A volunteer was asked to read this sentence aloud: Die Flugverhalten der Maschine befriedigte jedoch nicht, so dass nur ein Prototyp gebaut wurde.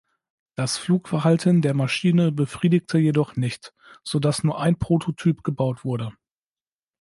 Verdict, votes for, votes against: rejected, 1, 2